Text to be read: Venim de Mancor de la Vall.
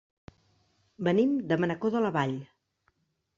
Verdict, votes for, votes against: rejected, 0, 2